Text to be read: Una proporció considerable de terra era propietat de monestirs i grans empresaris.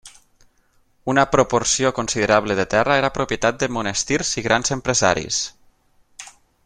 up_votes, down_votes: 9, 0